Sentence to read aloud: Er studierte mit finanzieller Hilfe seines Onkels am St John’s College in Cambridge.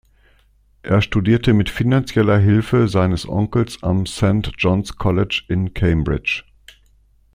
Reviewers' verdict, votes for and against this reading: accepted, 2, 0